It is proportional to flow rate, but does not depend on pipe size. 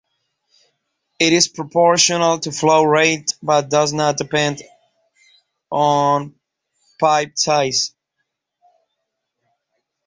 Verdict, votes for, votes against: accepted, 2, 0